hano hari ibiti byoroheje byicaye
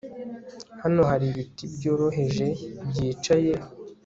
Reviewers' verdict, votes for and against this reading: accepted, 2, 0